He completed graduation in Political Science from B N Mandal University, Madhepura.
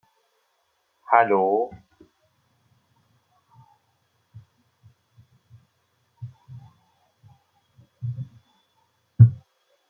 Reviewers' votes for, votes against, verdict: 0, 2, rejected